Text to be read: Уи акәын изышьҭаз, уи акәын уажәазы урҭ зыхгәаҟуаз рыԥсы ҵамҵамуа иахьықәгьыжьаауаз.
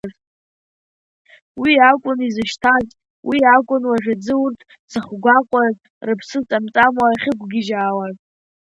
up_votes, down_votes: 1, 2